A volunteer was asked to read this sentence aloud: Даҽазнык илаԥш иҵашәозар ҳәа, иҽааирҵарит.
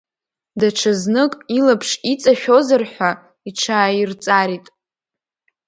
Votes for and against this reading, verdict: 0, 2, rejected